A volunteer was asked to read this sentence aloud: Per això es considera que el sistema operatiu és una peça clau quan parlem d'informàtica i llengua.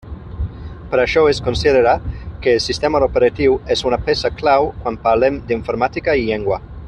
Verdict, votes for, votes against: rejected, 0, 2